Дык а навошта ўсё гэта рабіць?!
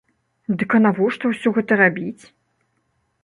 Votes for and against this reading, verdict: 2, 0, accepted